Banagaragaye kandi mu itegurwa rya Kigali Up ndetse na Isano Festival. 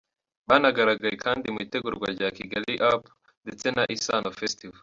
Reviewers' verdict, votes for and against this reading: accepted, 2, 1